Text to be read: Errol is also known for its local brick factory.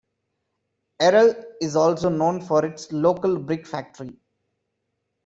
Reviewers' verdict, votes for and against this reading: accepted, 2, 0